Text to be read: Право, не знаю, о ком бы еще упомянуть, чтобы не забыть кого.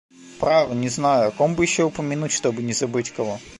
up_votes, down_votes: 2, 0